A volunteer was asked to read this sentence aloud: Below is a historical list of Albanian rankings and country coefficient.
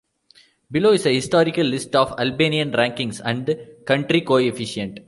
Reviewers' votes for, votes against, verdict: 2, 0, accepted